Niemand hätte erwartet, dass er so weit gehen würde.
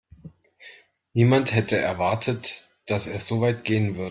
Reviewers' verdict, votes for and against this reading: rejected, 0, 2